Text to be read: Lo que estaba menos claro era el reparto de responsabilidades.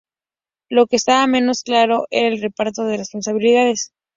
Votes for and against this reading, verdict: 2, 0, accepted